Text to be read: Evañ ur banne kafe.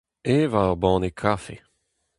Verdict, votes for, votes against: accepted, 4, 0